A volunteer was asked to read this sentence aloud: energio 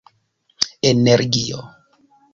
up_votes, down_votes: 0, 2